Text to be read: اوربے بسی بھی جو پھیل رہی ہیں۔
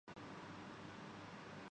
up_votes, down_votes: 0, 3